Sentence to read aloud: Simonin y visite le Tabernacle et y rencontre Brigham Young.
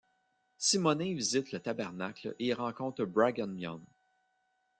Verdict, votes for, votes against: accepted, 2, 1